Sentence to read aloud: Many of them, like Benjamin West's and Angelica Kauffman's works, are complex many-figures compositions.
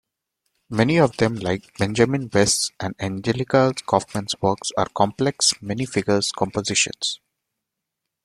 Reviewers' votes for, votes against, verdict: 1, 2, rejected